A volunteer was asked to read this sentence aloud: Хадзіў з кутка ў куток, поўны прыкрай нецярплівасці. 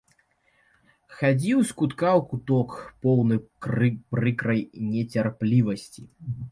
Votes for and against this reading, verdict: 0, 2, rejected